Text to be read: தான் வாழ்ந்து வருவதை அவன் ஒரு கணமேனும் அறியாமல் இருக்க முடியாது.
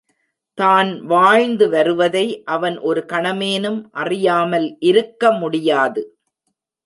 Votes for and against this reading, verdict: 2, 0, accepted